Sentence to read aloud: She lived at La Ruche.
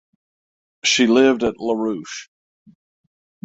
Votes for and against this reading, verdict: 6, 0, accepted